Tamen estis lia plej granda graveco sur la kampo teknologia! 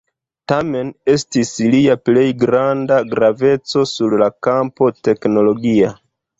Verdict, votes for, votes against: rejected, 1, 2